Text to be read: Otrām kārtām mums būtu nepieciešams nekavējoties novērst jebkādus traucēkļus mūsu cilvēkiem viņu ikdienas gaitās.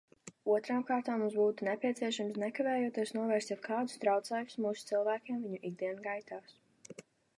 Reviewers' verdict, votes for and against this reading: accepted, 2, 0